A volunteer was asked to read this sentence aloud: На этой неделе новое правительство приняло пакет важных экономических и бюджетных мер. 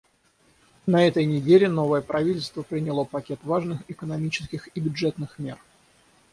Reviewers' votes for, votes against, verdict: 3, 3, rejected